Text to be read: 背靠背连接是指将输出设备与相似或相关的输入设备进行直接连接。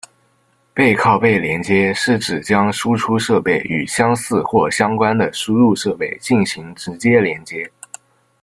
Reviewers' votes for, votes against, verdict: 1, 2, rejected